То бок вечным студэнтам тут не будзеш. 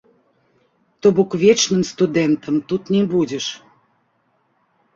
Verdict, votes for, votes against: accepted, 4, 2